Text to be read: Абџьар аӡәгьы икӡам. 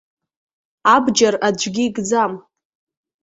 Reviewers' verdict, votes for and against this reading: accepted, 2, 0